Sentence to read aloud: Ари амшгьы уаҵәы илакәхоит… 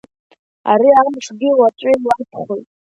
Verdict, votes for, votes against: rejected, 1, 2